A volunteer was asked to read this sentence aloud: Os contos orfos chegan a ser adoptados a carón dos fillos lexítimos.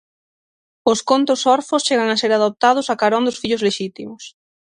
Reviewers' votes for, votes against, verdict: 6, 0, accepted